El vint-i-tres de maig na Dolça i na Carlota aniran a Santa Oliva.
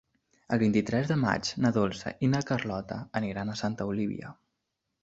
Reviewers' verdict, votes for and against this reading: rejected, 2, 3